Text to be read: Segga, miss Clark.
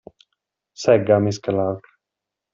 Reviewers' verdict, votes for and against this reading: accepted, 2, 0